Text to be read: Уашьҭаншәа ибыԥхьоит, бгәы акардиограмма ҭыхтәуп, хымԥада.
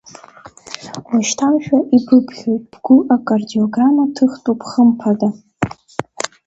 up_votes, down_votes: 2, 0